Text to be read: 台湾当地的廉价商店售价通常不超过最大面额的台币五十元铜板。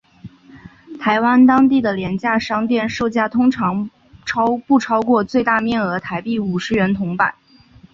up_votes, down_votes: 1, 2